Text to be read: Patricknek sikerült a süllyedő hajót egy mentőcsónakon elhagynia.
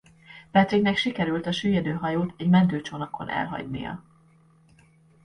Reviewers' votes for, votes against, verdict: 2, 0, accepted